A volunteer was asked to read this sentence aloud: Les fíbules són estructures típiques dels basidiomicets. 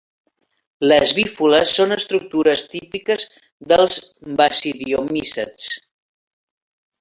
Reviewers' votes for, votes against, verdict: 0, 2, rejected